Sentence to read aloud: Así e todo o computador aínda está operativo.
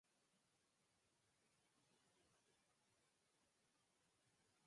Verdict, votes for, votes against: rejected, 0, 4